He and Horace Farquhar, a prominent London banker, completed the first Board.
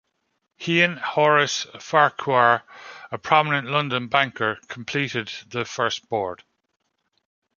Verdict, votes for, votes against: accepted, 2, 0